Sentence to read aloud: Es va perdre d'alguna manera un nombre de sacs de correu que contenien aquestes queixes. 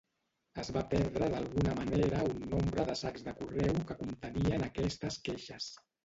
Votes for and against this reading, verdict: 0, 2, rejected